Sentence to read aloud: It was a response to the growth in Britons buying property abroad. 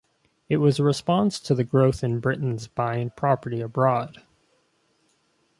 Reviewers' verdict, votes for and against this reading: accepted, 2, 0